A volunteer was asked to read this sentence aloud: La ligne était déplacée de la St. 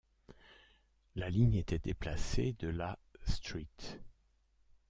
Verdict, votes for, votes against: rejected, 0, 2